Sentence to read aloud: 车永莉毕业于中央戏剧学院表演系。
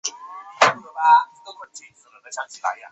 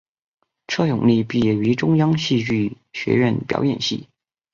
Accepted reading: second